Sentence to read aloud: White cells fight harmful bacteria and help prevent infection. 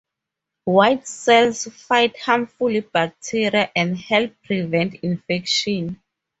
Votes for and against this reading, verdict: 2, 0, accepted